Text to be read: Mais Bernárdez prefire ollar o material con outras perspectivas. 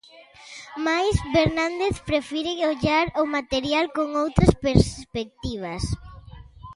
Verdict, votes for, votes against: rejected, 0, 2